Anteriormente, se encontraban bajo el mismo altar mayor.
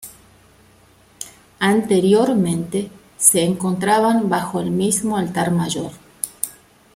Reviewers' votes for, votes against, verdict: 2, 0, accepted